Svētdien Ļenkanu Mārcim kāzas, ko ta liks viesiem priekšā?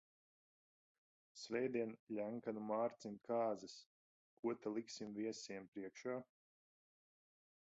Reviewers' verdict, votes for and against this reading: rejected, 0, 2